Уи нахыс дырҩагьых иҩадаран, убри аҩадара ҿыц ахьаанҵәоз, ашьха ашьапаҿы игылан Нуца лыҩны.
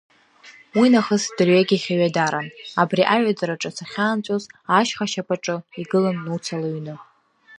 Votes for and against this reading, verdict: 1, 2, rejected